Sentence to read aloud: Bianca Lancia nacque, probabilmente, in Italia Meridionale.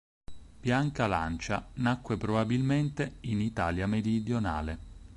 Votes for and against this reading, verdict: 4, 2, accepted